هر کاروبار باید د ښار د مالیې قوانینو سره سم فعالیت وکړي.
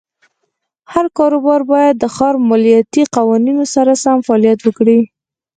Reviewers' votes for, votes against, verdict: 0, 4, rejected